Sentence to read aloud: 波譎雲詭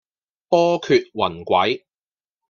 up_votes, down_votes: 2, 0